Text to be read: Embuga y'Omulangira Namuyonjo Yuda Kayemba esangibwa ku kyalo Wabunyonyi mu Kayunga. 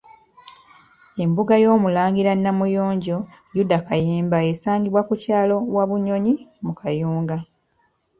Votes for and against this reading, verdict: 2, 1, accepted